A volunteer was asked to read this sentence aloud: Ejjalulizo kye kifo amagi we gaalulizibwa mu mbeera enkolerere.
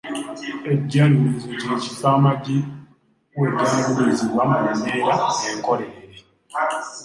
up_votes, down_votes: 2, 0